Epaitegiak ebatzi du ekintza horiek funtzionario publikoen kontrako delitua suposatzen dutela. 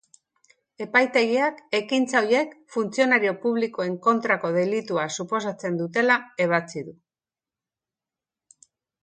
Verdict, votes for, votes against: rejected, 1, 3